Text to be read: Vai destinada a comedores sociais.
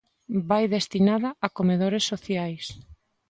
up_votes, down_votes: 2, 0